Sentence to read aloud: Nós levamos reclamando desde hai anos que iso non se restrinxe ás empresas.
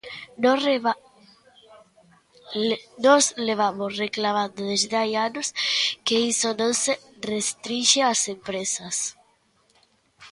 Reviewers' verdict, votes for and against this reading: rejected, 0, 2